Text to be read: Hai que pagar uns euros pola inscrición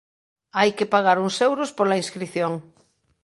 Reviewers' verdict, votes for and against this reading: accepted, 2, 0